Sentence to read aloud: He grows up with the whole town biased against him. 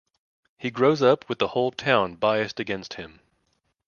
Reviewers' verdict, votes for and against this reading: accepted, 2, 0